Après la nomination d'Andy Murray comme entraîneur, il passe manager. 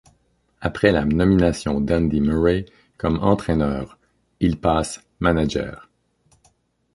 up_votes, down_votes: 2, 3